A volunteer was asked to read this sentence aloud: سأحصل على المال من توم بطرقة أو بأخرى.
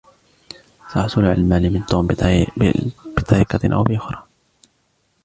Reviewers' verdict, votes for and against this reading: rejected, 0, 2